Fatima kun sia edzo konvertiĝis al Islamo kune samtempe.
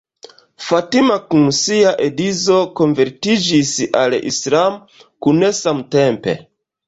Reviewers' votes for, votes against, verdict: 1, 2, rejected